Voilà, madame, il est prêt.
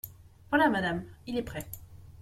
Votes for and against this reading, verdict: 2, 0, accepted